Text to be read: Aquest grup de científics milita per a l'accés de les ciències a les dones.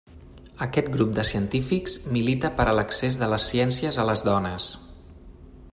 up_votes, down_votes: 3, 0